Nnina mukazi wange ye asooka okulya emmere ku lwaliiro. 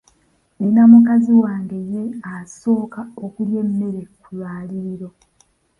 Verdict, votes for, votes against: rejected, 0, 2